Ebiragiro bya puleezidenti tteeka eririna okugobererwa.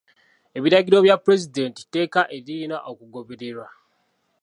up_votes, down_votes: 0, 2